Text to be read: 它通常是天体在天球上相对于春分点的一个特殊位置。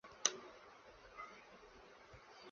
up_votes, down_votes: 1, 5